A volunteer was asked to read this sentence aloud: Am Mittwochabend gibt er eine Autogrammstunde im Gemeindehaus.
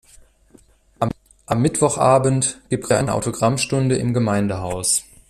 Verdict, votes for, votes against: rejected, 0, 2